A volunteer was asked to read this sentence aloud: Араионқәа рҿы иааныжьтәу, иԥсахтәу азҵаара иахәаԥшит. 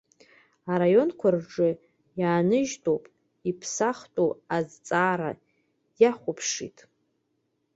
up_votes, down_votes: 1, 2